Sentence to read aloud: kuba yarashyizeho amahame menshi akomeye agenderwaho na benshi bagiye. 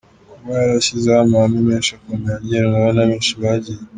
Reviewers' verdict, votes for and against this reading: accepted, 2, 0